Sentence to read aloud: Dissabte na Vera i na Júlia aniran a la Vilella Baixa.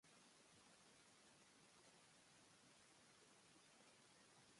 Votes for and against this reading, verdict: 0, 2, rejected